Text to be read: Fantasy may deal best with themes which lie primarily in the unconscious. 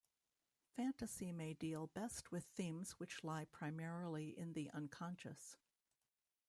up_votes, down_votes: 0, 2